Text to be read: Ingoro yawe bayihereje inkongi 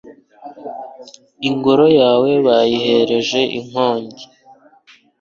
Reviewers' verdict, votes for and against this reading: accepted, 2, 1